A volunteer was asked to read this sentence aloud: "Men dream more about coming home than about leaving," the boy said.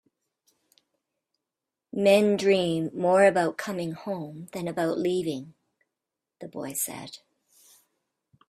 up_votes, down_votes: 2, 0